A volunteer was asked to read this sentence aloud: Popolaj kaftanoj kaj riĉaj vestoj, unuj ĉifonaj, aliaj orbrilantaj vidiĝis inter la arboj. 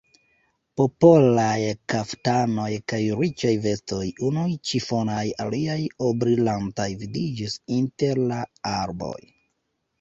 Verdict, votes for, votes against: rejected, 0, 2